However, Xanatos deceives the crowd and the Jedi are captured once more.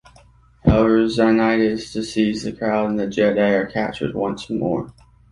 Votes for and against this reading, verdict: 2, 1, accepted